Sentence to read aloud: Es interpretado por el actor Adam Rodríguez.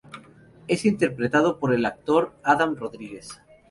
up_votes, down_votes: 2, 0